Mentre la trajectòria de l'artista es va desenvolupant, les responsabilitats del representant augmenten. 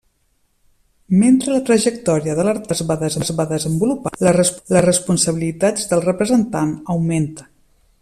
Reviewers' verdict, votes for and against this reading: rejected, 0, 2